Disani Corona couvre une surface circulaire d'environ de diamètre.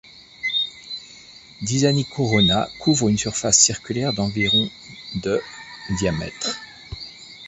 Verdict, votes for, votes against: accepted, 2, 0